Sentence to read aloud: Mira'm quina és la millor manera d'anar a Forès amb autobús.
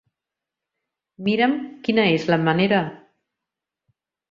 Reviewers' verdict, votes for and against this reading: rejected, 0, 4